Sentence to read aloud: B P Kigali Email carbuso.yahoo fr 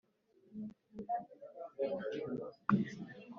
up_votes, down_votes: 1, 2